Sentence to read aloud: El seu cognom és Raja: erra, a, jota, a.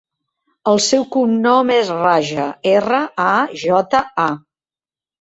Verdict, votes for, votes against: accepted, 2, 0